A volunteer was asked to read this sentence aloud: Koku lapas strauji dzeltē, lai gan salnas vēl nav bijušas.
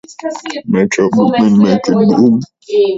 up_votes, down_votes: 0, 3